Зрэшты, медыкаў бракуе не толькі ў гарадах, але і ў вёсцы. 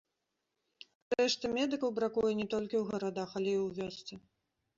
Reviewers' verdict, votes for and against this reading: accepted, 2, 0